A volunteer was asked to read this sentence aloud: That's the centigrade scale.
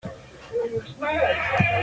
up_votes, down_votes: 0, 2